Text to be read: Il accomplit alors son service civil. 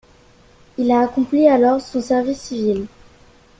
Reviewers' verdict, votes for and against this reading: accepted, 2, 1